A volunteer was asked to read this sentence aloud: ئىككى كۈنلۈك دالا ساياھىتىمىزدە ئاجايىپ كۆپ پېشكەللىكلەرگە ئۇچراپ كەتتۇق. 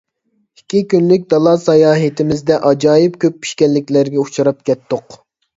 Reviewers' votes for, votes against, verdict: 2, 1, accepted